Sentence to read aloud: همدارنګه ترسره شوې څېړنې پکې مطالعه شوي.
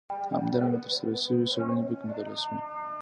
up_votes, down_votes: 2, 1